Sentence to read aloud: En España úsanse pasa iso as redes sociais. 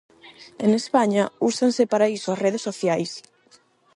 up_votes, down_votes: 4, 4